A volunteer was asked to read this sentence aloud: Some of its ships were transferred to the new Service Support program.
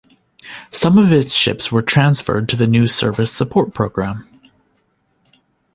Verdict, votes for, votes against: accepted, 2, 0